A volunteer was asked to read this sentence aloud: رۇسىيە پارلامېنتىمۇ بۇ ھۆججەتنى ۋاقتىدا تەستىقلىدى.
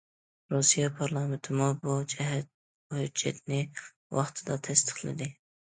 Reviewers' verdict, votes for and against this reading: rejected, 0, 2